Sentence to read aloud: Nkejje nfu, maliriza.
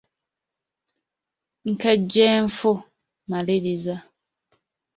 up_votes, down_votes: 2, 0